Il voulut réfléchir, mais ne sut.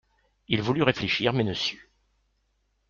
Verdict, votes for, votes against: accepted, 2, 0